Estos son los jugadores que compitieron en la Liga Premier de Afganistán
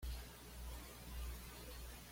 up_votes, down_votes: 1, 2